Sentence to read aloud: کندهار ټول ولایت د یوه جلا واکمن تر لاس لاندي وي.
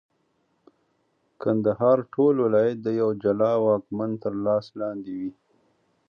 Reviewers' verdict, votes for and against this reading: accepted, 2, 0